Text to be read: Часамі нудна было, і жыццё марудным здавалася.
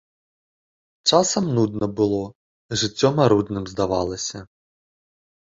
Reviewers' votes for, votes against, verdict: 0, 2, rejected